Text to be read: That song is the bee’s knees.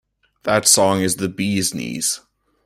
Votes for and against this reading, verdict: 2, 0, accepted